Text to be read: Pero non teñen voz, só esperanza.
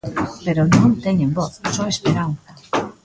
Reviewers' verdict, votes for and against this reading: accepted, 2, 0